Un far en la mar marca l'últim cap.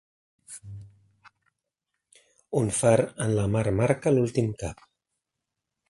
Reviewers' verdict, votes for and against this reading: accepted, 2, 1